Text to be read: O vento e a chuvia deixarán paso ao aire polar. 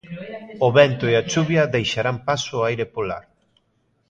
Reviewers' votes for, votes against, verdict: 1, 2, rejected